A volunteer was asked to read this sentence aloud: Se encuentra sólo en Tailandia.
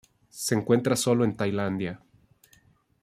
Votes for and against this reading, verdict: 2, 0, accepted